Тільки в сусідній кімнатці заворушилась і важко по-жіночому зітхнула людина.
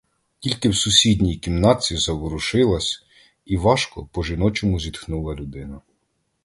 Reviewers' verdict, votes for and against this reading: accepted, 2, 0